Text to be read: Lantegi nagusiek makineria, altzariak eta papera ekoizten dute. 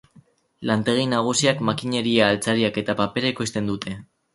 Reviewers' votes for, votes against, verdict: 2, 4, rejected